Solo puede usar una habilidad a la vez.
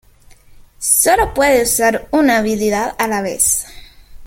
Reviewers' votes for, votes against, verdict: 2, 1, accepted